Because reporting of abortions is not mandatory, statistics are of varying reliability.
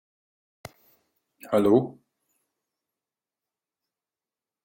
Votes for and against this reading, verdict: 0, 2, rejected